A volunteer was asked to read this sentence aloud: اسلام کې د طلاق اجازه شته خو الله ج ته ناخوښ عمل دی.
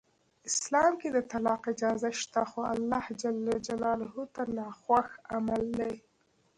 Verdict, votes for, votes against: rejected, 1, 2